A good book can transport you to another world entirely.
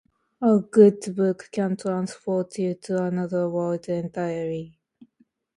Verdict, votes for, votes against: accepted, 2, 0